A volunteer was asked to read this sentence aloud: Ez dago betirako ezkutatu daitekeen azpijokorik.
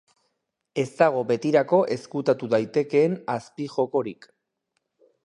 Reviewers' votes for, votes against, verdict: 4, 0, accepted